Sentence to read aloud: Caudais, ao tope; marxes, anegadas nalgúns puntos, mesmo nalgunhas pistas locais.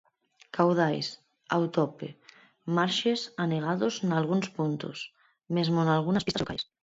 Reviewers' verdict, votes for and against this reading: rejected, 0, 4